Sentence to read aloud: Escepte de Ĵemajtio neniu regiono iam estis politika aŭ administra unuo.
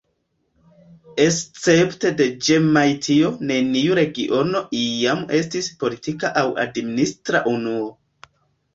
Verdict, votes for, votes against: rejected, 0, 2